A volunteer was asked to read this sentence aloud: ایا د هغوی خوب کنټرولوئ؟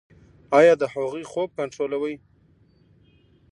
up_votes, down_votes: 1, 2